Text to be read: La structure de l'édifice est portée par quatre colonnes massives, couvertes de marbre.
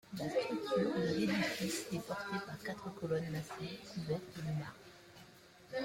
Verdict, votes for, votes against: rejected, 0, 2